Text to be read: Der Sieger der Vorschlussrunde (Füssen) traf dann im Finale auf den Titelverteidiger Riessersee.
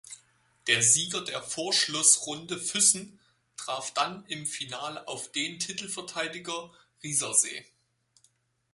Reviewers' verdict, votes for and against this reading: accepted, 4, 2